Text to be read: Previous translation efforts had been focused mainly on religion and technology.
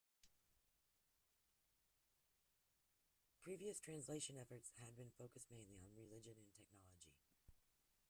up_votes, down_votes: 0, 2